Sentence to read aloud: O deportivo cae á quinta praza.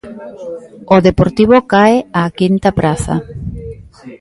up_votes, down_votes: 1, 2